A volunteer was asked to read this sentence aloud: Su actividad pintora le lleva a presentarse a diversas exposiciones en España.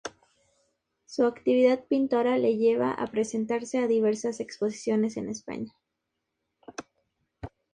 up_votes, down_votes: 2, 0